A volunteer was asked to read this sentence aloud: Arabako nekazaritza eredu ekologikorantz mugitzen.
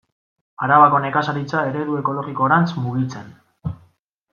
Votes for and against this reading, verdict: 2, 1, accepted